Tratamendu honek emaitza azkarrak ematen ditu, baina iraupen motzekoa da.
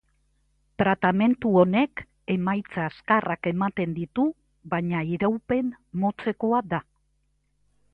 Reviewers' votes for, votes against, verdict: 1, 2, rejected